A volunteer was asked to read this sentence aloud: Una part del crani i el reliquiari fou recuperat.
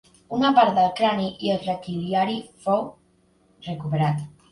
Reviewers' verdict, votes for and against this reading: rejected, 0, 2